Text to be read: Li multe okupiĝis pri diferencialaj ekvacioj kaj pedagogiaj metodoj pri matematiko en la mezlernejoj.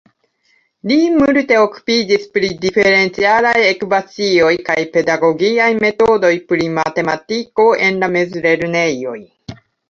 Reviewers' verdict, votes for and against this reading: accepted, 2, 1